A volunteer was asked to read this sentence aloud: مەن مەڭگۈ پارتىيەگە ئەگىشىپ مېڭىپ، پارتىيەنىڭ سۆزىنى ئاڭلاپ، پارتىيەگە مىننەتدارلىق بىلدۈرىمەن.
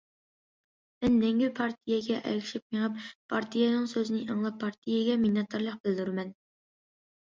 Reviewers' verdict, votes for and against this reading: accepted, 2, 0